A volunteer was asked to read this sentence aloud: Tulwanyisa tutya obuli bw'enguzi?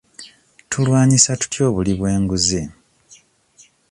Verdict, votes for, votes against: accepted, 2, 0